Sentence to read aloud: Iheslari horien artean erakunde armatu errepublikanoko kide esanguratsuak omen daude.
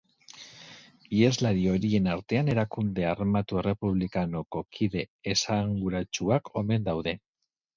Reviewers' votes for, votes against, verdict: 2, 0, accepted